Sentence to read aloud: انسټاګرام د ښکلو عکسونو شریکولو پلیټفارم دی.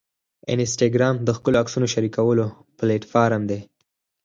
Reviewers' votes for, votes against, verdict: 6, 0, accepted